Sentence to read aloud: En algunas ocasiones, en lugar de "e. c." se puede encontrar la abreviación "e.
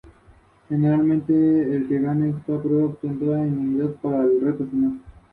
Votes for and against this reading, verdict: 0, 2, rejected